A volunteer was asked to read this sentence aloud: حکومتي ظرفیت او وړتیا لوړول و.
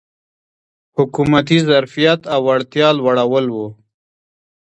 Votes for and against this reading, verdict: 2, 0, accepted